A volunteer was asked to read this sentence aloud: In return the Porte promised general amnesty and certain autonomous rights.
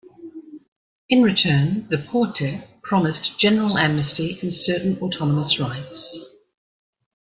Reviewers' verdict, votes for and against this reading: accepted, 3, 0